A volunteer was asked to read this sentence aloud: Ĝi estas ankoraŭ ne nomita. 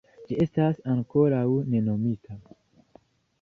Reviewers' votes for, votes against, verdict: 2, 0, accepted